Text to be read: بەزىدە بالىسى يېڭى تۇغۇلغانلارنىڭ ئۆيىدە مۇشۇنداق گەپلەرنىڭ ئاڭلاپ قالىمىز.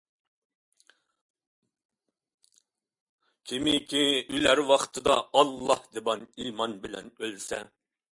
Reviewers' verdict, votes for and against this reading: rejected, 0, 2